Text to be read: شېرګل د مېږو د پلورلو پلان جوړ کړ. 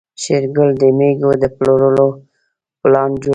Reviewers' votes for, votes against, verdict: 0, 2, rejected